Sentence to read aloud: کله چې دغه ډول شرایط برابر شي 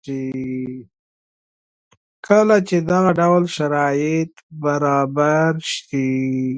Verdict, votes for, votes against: accepted, 2, 0